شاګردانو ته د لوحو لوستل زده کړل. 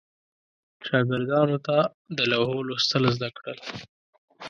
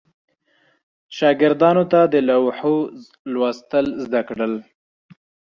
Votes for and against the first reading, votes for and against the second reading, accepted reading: 1, 2, 2, 0, second